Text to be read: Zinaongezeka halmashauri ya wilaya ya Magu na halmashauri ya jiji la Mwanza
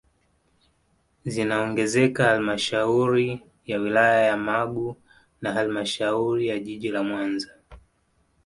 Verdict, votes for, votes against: accepted, 2, 0